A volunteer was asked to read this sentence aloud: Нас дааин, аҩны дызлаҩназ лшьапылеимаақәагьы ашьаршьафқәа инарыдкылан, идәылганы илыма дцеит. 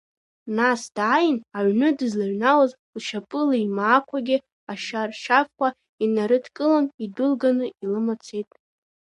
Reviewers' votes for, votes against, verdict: 0, 2, rejected